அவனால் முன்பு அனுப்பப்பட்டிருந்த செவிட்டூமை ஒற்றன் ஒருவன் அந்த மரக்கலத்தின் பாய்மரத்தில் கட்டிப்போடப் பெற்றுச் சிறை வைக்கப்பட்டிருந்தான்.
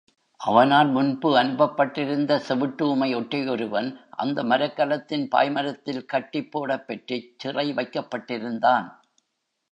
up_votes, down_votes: 0, 2